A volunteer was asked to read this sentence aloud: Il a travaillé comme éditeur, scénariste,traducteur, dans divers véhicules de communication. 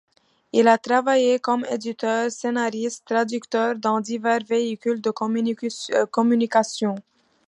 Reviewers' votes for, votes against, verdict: 0, 2, rejected